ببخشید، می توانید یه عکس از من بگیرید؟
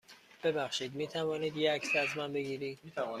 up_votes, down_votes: 2, 0